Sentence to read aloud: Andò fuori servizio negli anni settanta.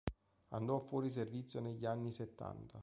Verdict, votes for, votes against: rejected, 0, 2